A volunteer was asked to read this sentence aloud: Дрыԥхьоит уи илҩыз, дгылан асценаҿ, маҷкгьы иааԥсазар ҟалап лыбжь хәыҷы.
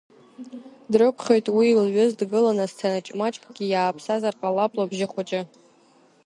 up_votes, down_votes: 1, 2